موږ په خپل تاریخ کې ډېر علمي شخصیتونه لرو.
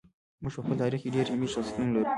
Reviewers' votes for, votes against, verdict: 2, 0, accepted